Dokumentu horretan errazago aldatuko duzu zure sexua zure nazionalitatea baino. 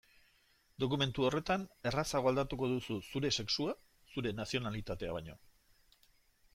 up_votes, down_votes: 2, 0